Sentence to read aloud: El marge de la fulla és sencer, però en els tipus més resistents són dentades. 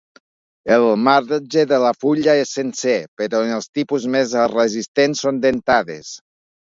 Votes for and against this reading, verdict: 1, 2, rejected